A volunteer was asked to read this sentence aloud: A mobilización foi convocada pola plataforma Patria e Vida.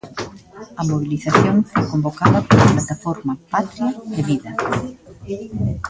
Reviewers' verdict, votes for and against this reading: rejected, 0, 2